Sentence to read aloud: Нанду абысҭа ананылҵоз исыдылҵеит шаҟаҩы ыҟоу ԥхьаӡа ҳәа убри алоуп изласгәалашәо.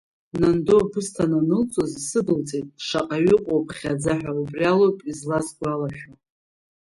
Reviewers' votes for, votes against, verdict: 0, 2, rejected